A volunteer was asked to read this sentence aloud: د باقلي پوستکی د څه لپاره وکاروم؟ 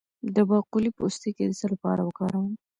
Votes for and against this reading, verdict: 1, 2, rejected